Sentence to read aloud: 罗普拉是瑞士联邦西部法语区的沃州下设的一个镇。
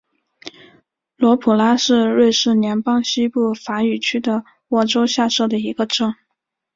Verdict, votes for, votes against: accepted, 6, 0